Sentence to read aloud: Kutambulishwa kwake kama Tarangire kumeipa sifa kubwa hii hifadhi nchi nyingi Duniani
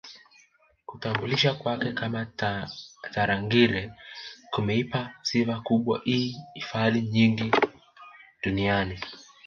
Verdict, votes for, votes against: rejected, 0, 3